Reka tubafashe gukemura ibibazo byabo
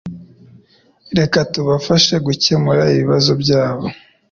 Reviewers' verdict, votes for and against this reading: accepted, 2, 0